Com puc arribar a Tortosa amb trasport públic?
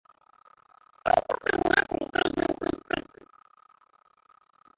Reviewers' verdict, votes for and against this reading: rejected, 0, 2